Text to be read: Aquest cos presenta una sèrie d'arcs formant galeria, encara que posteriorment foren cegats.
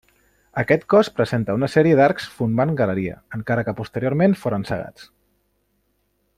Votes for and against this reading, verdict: 1, 2, rejected